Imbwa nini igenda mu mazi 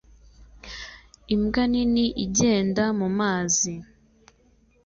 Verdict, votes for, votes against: accepted, 2, 0